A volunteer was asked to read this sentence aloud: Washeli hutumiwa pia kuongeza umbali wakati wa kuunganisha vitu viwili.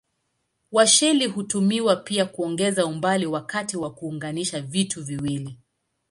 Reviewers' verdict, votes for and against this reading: accepted, 2, 0